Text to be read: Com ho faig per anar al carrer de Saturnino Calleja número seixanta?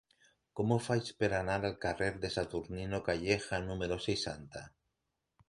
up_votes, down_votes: 1, 2